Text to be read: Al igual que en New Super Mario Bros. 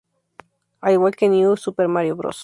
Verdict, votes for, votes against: accepted, 4, 0